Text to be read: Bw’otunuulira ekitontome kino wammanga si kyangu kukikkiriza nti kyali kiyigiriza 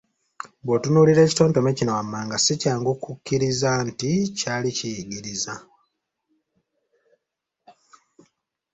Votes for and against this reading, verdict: 2, 0, accepted